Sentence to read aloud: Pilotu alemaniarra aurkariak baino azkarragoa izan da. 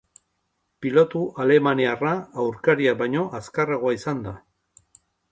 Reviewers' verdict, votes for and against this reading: accepted, 2, 0